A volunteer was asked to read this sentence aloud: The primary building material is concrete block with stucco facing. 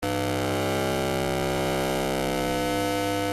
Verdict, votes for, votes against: rejected, 0, 2